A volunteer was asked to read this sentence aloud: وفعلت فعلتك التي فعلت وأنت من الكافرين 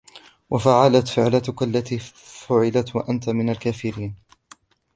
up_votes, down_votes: 1, 3